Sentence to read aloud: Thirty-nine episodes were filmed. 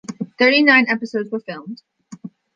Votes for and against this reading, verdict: 2, 0, accepted